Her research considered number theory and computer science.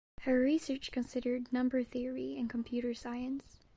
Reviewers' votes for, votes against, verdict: 2, 0, accepted